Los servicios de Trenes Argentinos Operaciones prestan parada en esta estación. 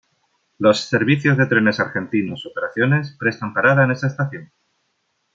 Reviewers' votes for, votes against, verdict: 2, 0, accepted